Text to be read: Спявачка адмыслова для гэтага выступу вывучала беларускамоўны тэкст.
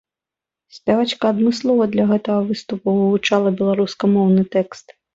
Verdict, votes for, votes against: accepted, 2, 0